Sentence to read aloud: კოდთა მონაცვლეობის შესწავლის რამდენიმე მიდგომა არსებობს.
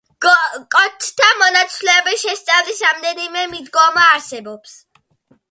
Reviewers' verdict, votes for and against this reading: rejected, 1, 2